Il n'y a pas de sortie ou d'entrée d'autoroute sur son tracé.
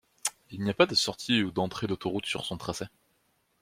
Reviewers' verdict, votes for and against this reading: accepted, 2, 1